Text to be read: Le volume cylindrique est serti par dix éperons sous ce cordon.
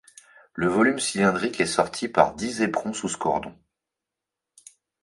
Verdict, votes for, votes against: rejected, 0, 2